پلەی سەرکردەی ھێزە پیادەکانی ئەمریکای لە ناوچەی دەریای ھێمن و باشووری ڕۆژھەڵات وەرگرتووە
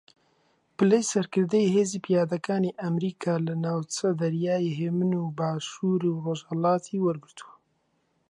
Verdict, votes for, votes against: rejected, 0, 2